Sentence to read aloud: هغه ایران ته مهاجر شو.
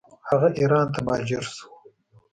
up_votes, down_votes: 2, 0